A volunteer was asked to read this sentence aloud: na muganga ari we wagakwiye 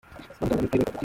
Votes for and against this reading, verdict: 0, 2, rejected